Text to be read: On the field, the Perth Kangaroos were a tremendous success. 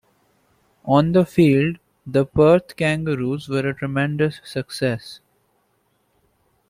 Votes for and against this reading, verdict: 2, 0, accepted